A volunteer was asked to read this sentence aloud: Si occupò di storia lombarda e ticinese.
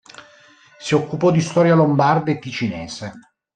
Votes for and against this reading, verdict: 2, 0, accepted